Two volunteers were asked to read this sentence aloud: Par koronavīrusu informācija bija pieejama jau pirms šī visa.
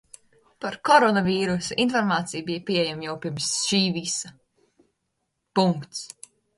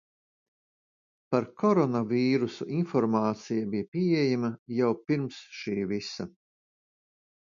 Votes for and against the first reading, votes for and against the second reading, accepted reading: 1, 2, 2, 0, second